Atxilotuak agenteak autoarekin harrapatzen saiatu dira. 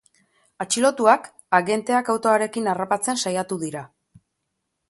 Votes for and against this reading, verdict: 3, 0, accepted